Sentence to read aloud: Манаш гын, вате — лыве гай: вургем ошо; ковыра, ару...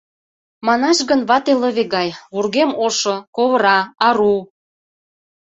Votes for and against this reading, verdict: 2, 0, accepted